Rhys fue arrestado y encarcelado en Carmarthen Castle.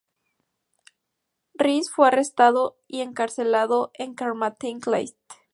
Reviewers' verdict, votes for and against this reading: rejected, 0, 4